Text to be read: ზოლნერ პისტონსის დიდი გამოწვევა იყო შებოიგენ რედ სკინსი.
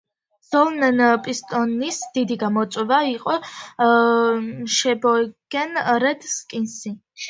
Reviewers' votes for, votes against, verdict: 0, 2, rejected